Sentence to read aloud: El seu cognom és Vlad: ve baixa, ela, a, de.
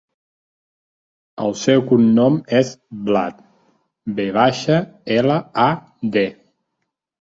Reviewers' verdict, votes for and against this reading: accepted, 2, 0